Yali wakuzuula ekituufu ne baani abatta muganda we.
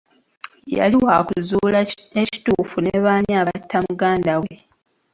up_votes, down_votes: 0, 2